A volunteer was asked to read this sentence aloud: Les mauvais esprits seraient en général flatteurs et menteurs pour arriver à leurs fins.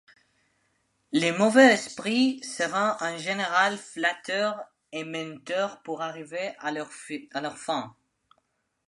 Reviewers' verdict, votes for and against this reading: rejected, 0, 2